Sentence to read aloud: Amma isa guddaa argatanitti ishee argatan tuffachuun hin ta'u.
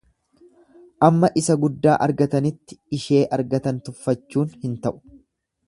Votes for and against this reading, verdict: 2, 0, accepted